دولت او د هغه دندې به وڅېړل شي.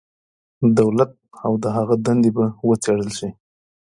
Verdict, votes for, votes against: accepted, 2, 1